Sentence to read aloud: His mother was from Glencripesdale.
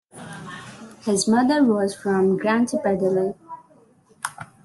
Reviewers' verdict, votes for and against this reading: rejected, 1, 2